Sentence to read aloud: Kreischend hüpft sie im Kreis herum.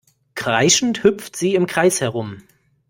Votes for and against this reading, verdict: 2, 0, accepted